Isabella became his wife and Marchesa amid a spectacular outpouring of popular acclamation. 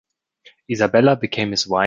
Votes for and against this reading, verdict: 0, 3, rejected